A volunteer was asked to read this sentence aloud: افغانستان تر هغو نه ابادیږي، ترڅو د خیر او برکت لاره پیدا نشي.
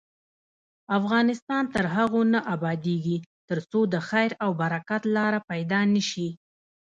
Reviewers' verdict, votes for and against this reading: rejected, 1, 2